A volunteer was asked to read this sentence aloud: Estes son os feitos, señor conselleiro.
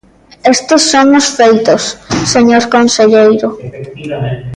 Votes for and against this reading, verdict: 0, 2, rejected